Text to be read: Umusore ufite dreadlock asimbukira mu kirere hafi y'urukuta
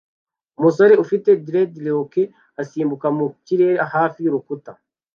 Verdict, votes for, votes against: rejected, 0, 2